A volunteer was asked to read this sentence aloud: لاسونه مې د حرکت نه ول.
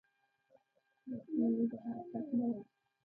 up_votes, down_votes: 1, 2